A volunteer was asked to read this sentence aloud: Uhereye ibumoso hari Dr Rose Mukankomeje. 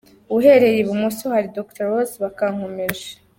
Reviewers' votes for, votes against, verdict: 0, 2, rejected